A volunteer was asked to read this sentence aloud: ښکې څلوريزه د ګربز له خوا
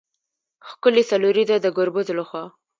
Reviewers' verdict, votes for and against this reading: accepted, 2, 1